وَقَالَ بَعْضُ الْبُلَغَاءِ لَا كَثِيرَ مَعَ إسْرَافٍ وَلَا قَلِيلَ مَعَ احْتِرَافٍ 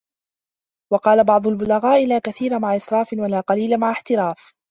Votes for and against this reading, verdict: 2, 0, accepted